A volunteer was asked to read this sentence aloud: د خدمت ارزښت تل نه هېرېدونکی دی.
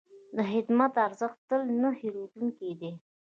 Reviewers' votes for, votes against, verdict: 0, 2, rejected